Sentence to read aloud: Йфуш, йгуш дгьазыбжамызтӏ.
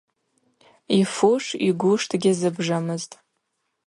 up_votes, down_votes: 4, 0